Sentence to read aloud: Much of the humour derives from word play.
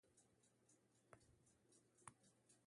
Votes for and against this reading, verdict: 0, 2, rejected